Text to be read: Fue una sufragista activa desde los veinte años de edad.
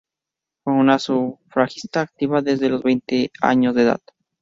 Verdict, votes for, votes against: rejected, 2, 2